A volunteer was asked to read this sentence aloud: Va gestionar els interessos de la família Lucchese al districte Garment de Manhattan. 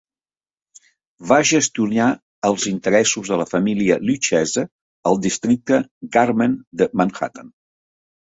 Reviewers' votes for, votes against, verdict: 0, 2, rejected